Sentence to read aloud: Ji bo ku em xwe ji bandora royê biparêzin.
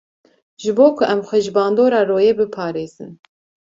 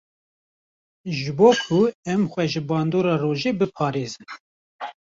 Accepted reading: first